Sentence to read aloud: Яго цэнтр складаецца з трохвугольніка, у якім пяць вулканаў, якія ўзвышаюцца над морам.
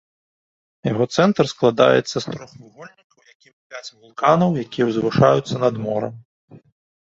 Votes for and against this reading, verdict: 0, 2, rejected